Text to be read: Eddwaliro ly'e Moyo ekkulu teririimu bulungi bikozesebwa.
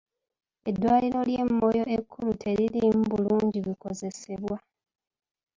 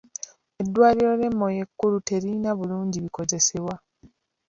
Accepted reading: first